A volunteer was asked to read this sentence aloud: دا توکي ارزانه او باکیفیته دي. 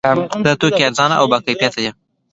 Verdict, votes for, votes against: accepted, 3, 0